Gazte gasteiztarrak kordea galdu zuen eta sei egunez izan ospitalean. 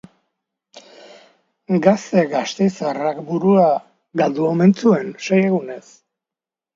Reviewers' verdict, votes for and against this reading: rejected, 0, 2